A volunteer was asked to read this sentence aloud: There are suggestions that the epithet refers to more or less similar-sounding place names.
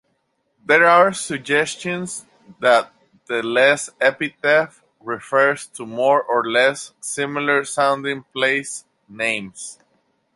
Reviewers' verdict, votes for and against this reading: rejected, 0, 2